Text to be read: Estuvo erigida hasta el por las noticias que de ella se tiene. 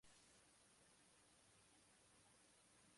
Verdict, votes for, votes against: rejected, 0, 2